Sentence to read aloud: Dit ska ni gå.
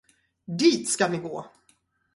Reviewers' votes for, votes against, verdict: 4, 0, accepted